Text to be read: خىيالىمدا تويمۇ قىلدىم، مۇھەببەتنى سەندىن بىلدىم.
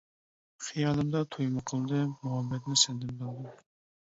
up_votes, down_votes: 2, 0